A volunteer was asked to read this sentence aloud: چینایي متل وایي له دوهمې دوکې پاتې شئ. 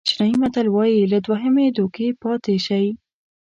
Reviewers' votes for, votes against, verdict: 2, 0, accepted